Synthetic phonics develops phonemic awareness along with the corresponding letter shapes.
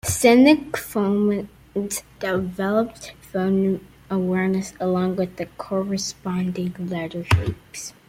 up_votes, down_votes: 0, 2